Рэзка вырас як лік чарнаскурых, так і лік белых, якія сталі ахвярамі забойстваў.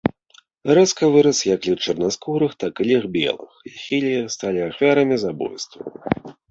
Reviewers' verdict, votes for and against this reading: rejected, 1, 2